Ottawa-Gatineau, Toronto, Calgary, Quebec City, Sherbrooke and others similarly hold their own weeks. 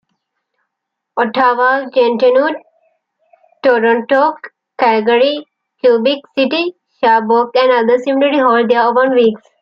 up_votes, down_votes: 2, 1